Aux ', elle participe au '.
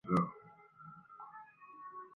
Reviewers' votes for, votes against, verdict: 0, 2, rejected